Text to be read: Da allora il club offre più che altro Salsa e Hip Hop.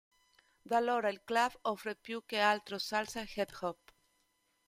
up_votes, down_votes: 0, 2